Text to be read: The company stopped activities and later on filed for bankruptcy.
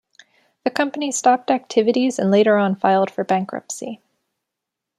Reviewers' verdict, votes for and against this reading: accepted, 2, 0